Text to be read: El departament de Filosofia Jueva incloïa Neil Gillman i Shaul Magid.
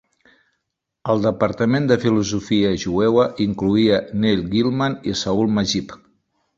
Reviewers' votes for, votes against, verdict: 1, 2, rejected